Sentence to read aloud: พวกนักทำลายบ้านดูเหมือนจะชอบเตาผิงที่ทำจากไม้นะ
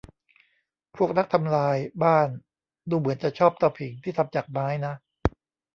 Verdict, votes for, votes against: rejected, 1, 2